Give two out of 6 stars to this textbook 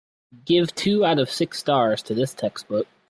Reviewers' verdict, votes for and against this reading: rejected, 0, 2